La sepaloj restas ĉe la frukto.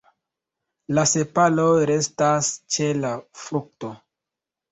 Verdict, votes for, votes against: rejected, 0, 2